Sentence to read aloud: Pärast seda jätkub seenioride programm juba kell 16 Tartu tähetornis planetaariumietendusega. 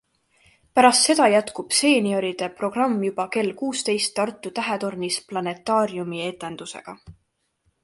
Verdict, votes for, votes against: rejected, 0, 2